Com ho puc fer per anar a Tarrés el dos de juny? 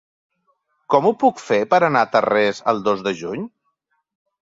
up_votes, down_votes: 3, 0